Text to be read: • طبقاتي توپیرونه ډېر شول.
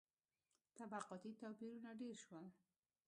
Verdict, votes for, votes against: accepted, 2, 0